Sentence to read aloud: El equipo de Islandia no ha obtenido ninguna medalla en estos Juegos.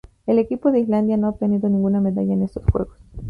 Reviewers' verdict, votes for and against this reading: rejected, 0, 4